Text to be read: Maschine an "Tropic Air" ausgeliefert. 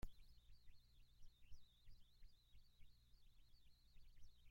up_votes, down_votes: 0, 3